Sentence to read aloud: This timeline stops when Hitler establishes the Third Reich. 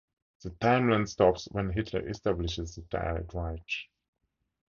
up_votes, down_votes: 0, 4